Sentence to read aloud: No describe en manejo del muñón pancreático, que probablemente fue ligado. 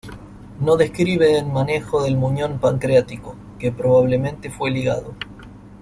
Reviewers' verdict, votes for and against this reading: accepted, 2, 0